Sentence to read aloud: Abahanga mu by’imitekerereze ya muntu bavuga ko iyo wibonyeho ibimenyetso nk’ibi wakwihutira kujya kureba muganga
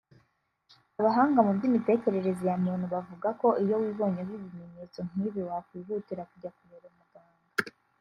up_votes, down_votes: 1, 2